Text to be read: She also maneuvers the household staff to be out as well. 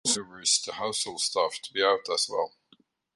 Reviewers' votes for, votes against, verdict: 0, 2, rejected